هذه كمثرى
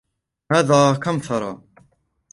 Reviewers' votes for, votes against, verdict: 1, 2, rejected